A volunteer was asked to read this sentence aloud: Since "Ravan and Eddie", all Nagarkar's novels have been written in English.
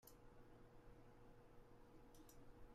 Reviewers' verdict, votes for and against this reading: rejected, 0, 2